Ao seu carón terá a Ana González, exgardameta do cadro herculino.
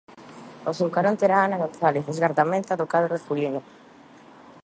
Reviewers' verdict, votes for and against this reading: accepted, 2, 0